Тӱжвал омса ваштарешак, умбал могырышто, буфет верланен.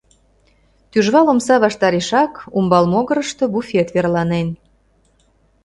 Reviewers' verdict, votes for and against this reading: accepted, 2, 0